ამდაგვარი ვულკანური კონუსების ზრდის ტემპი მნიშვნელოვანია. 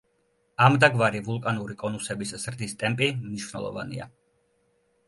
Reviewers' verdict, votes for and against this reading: accepted, 2, 0